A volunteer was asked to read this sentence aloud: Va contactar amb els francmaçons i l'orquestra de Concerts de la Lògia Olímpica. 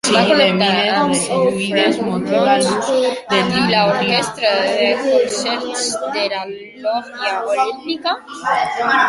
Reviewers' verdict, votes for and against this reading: rejected, 0, 2